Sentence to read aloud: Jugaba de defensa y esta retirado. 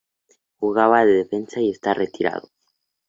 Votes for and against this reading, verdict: 2, 0, accepted